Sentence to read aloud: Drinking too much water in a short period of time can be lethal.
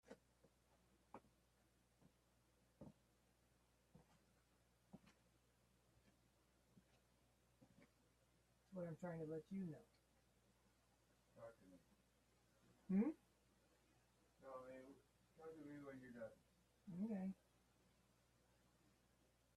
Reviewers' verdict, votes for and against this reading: rejected, 0, 2